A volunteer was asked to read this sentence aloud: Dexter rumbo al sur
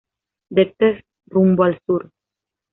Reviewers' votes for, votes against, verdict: 1, 2, rejected